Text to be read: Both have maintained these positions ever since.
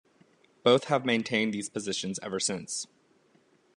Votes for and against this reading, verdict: 2, 0, accepted